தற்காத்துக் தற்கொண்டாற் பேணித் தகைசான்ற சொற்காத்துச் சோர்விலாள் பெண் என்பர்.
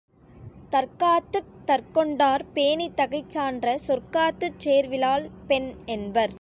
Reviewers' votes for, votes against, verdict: 1, 2, rejected